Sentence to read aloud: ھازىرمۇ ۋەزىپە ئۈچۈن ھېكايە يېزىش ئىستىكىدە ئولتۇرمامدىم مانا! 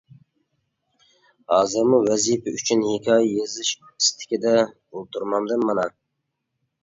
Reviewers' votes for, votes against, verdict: 3, 0, accepted